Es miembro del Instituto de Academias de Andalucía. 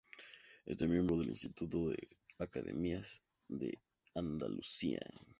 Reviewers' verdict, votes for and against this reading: rejected, 0, 2